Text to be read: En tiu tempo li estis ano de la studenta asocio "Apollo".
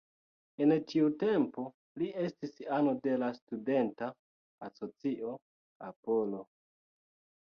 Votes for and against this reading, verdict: 0, 2, rejected